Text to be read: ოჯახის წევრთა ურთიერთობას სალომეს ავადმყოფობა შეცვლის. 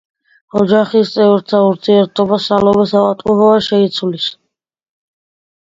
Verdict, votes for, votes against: accepted, 2, 0